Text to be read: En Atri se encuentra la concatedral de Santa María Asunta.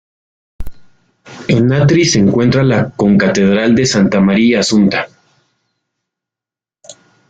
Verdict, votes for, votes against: accepted, 2, 0